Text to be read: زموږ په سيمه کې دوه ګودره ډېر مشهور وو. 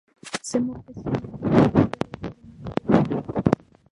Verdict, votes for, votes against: rejected, 0, 2